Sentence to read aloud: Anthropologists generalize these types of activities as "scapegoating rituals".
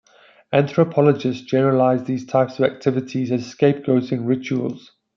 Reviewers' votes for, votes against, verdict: 1, 2, rejected